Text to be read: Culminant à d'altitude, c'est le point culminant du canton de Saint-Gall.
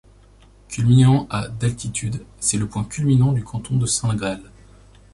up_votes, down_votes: 2, 0